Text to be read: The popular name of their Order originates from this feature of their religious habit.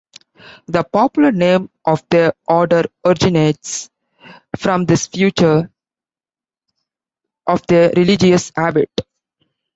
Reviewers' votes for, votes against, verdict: 0, 2, rejected